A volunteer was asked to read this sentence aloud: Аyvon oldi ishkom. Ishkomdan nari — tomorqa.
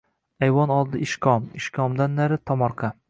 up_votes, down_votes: 2, 0